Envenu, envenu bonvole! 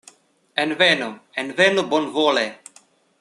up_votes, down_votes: 2, 0